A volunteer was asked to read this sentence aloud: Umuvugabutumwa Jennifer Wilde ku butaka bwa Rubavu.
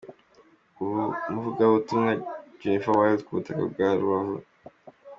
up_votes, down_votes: 2, 1